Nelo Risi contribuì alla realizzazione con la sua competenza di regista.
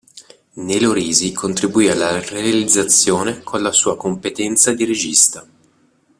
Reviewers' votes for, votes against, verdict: 1, 2, rejected